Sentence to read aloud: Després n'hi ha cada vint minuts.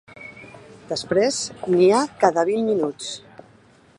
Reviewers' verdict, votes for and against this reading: accepted, 2, 0